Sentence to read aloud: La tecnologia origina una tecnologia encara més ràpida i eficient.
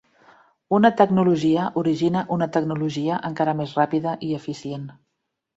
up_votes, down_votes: 1, 2